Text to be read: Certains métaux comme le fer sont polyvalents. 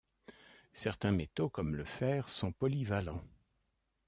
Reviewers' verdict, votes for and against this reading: accepted, 2, 0